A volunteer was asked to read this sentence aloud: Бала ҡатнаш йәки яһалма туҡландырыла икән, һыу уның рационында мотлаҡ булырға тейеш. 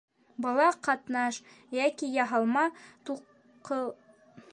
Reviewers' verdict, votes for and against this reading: rejected, 0, 3